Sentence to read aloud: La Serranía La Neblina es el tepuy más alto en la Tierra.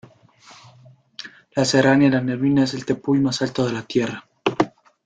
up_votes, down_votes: 1, 2